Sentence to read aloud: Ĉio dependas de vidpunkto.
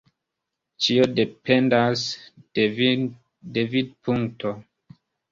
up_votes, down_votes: 0, 2